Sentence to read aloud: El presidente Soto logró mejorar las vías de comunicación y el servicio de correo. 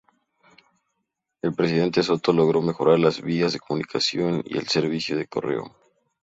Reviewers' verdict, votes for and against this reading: accepted, 2, 0